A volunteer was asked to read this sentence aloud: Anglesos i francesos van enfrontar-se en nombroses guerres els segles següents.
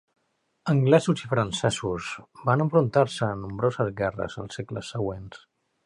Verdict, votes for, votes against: rejected, 1, 2